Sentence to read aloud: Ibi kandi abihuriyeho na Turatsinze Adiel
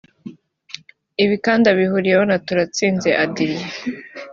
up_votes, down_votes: 2, 0